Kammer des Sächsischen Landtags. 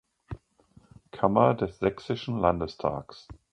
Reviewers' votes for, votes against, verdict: 0, 2, rejected